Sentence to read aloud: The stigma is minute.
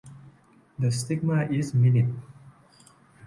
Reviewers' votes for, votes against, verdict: 0, 2, rejected